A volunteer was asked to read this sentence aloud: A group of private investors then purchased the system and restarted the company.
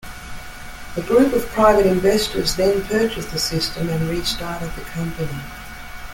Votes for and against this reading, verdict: 2, 0, accepted